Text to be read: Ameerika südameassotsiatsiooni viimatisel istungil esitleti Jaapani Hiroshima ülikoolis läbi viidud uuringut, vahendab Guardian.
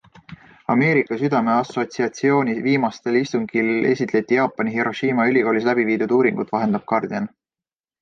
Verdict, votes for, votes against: rejected, 1, 2